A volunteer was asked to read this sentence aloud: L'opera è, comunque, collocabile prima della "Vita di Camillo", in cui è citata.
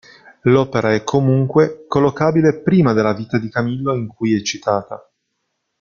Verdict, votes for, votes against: accepted, 2, 0